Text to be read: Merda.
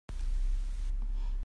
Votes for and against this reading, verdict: 0, 3, rejected